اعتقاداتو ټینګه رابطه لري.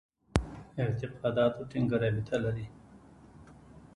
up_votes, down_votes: 1, 2